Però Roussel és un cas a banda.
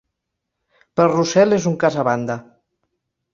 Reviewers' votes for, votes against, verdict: 0, 2, rejected